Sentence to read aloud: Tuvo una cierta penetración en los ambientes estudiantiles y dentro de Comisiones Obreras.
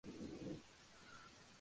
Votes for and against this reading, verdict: 0, 2, rejected